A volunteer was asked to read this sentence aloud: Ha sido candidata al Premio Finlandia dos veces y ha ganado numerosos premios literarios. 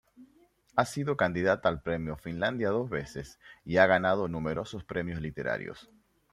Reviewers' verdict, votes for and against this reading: accepted, 2, 0